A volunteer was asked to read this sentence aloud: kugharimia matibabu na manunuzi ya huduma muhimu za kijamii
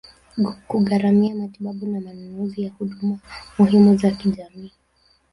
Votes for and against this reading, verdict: 1, 2, rejected